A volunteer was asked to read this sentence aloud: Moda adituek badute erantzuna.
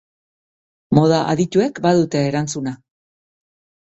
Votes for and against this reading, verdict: 1, 2, rejected